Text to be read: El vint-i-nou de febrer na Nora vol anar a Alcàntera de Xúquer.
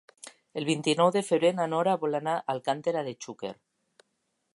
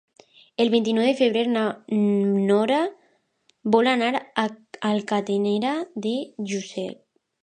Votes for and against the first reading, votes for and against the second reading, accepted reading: 2, 1, 1, 2, first